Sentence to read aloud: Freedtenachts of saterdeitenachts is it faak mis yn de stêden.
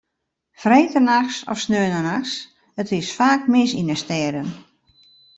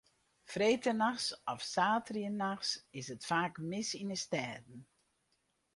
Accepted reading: second